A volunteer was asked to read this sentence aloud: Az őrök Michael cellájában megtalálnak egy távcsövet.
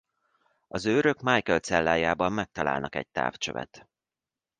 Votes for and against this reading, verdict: 2, 0, accepted